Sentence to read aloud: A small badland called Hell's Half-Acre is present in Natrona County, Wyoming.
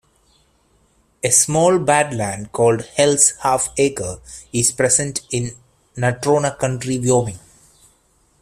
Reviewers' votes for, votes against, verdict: 1, 2, rejected